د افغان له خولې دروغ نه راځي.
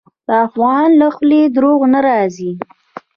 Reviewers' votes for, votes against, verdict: 2, 0, accepted